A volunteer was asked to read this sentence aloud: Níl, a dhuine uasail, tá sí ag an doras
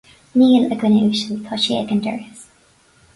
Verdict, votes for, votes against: rejected, 2, 2